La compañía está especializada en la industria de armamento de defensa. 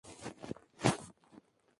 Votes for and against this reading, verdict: 0, 4, rejected